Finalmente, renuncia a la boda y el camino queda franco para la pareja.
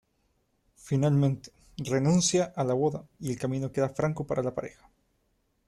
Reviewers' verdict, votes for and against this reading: accepted, 2, 0